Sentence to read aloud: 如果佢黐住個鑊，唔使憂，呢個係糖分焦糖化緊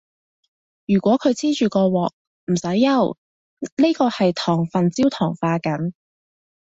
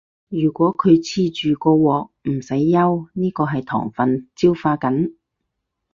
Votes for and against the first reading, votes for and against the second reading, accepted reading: 2, 0, 0, 4, first